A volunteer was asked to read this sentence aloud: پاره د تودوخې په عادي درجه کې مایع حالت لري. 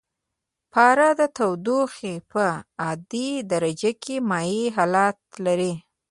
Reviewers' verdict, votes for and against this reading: accepted, 2, 0